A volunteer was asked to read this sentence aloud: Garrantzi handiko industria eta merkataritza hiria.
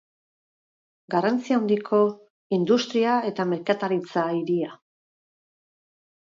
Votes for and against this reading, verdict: 2, 4, rejected